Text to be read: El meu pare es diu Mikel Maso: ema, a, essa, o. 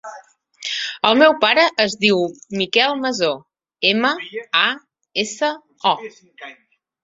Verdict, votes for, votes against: accepted, 2, 0